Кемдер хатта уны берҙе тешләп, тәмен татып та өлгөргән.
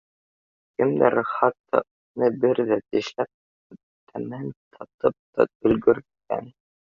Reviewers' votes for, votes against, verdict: 1, 2, rejected